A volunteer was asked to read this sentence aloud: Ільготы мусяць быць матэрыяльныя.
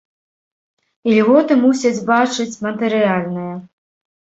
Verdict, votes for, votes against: rejected, 1, 2